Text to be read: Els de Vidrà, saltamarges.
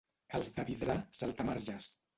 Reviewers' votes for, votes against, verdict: 2, 2, rejected